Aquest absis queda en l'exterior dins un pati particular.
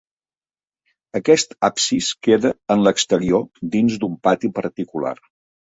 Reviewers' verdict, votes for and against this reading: rejected, 1, 2